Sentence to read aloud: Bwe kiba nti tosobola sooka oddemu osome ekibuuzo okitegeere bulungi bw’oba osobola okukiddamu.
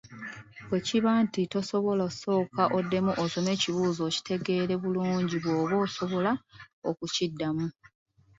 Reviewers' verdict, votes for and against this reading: accepted, 2, 0